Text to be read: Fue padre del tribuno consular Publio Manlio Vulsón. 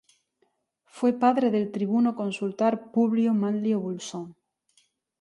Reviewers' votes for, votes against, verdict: 0, 2, rejected